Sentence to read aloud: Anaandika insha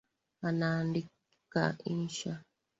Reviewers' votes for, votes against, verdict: 4, 1, accepted